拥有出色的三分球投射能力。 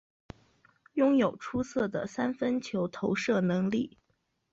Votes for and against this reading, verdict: 3, 0, accepted